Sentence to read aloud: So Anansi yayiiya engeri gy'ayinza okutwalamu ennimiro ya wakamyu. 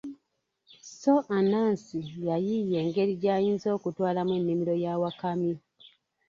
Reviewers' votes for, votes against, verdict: 2, 0, accepted